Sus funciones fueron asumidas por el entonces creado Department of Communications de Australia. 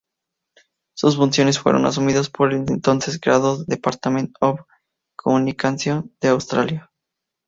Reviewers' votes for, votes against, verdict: 2, 0, accepted